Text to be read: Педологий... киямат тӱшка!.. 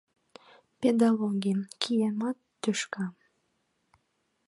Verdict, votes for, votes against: accepted, 2, 1